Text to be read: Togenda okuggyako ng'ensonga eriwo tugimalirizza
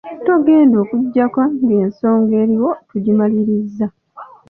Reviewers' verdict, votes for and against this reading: accepted, 2, 0